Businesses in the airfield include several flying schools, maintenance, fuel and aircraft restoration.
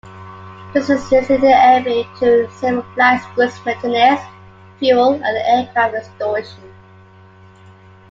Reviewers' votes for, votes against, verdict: 0, 2, rejected